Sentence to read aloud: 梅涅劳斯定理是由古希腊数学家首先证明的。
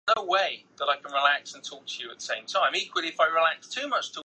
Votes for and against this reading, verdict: 0, 2, rejected